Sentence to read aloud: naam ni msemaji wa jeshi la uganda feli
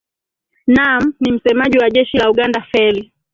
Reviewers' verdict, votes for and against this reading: accepted, 2, 1